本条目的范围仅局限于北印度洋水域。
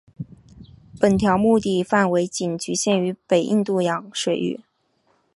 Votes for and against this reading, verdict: 2, 0, accepted